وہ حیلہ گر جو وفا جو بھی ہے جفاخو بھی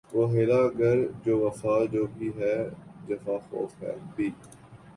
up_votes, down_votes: 3, 0